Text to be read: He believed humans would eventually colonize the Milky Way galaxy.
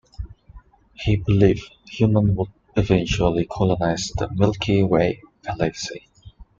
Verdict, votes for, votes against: accepted, 2, 0